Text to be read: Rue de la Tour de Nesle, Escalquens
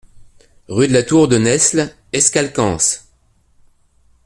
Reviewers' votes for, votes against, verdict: 2, 0, accepted